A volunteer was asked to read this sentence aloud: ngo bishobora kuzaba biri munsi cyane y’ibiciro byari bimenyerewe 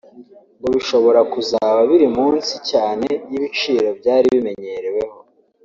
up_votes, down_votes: 1, 2